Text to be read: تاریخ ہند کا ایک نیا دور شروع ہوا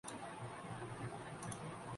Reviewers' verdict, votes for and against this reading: rejected, 6, 8